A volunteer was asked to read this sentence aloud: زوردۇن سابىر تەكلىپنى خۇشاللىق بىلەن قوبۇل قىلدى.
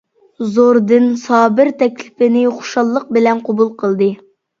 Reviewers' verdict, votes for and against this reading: rejected, 0, 2